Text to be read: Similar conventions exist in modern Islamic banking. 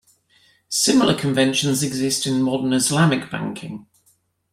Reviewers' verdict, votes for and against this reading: accepted, 2, 0